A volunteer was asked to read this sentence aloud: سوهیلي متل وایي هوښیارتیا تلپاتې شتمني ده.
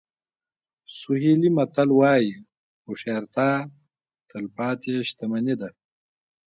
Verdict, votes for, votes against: accepted, 2, 0